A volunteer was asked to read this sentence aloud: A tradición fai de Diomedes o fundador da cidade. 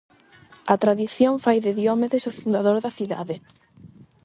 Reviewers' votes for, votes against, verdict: 4, 4, rejected